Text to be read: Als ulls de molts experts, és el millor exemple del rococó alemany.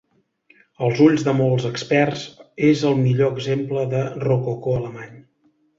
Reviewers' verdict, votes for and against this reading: rejected, 1, 2